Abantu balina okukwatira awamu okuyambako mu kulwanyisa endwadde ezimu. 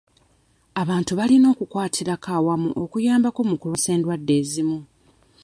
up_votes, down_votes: 2, 1